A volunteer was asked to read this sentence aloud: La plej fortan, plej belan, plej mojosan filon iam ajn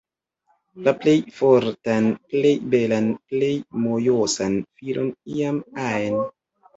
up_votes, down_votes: 2, 0